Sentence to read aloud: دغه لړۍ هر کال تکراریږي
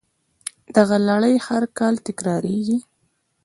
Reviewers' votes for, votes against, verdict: 2, 0, accepted